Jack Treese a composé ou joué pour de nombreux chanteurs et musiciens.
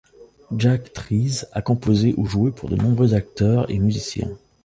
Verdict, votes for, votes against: rejected, 1, 2